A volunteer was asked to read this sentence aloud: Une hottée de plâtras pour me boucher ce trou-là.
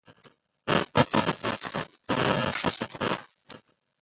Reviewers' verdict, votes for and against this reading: rejected, 1, 2